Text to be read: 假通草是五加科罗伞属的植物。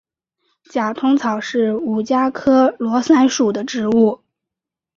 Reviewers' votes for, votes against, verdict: 3, 0, accepted